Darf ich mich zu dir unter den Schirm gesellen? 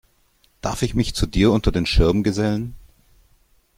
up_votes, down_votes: 2, 0